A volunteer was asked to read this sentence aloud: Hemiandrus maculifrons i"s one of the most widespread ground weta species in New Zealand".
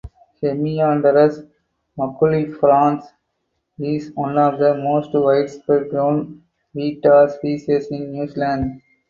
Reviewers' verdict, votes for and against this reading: rejected, 2, 4